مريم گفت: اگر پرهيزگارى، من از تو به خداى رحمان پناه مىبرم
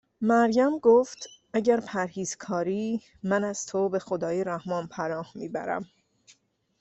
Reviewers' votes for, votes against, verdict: 2, 1, accepted